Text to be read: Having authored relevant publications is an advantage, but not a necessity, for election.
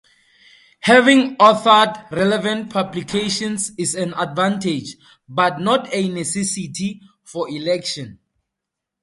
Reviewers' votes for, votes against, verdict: 2, 0, accepted